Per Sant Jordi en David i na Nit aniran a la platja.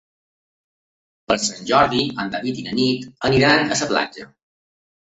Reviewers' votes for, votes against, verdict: 2, 0, accepted